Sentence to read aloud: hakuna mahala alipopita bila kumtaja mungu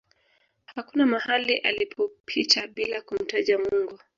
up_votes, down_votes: 1, 2